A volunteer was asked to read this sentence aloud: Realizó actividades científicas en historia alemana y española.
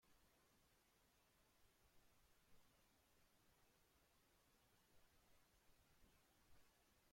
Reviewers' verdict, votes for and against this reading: rejected, 0, 2